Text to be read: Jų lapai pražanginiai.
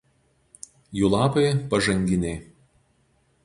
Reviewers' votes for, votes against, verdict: 0, 2, rejected